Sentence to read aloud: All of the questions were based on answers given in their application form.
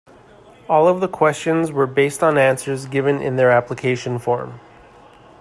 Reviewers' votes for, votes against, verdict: 2, 0, accepted